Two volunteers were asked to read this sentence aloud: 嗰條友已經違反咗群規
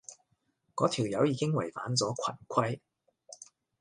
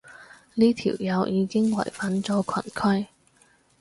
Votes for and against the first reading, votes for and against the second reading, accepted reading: 2, 0, 0, 4, first